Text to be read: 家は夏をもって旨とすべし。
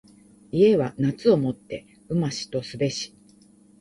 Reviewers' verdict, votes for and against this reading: rejected, 0, 2